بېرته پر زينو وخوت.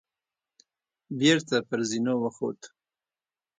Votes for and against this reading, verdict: 2, 0, accepted